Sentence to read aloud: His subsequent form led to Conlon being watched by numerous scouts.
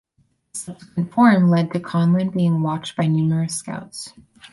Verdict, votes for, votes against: rejected, 2, 4